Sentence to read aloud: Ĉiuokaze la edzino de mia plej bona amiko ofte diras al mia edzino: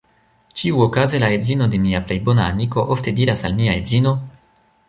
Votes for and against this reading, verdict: 2, 3, rejected